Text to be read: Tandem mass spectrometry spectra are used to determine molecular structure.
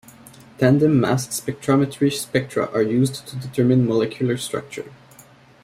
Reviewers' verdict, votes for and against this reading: accepted, 2, 0